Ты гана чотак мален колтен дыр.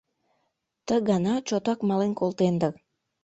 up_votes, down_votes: 1, 2